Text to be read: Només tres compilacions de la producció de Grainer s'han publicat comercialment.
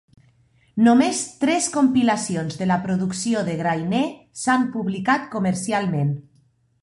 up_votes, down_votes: 3, 0